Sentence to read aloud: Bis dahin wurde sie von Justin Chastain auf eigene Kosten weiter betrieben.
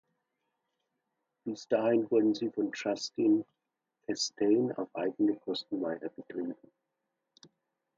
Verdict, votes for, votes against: accepted, 2, 1